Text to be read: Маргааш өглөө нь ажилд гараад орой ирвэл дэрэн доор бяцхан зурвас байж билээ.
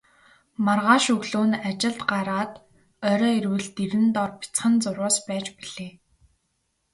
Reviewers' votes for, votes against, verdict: 2, 0, accepted